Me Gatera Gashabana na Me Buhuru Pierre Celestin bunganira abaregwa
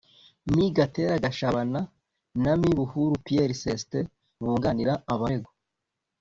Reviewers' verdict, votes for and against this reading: accepted, 2, 0